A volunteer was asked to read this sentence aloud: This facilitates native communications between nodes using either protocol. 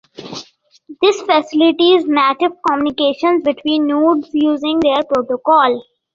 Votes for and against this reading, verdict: 1, 2, rejected